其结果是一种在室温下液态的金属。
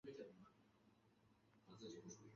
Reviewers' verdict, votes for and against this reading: rejected, 2, 3